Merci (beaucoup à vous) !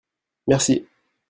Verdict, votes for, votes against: rejected, 1, 2